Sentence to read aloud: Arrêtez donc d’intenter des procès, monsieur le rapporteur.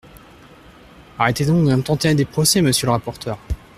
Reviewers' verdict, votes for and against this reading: rejected, 1, 2